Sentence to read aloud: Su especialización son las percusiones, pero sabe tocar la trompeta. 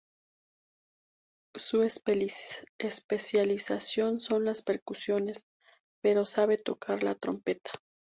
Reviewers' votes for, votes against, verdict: 2, 0, accepted